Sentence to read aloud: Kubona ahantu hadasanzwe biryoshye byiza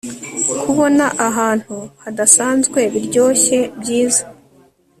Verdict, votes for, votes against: accepted, 2, 0